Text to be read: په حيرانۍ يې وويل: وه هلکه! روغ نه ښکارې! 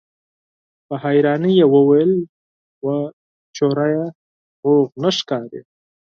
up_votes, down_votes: 2, 4